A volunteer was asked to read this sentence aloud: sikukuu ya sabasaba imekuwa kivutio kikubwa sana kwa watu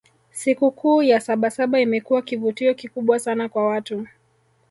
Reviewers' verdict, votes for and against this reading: accepted, 2, 1